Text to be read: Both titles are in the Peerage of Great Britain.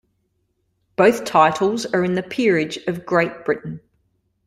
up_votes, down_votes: 2, 0